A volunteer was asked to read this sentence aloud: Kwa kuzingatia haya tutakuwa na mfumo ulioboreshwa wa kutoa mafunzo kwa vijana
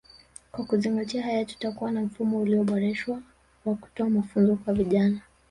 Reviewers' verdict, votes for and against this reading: rejected, 1, 2